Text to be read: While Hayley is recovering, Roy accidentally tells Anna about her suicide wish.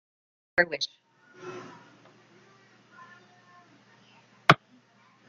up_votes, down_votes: 0, 2